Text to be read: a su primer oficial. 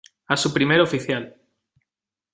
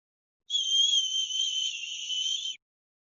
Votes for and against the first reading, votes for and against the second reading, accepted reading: 2, 0, 0, 2, first